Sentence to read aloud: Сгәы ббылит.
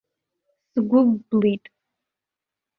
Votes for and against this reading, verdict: 0, 2, rejected